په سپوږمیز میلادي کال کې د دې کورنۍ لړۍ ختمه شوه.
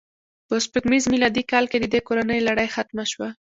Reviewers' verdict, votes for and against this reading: accepted, 2, 0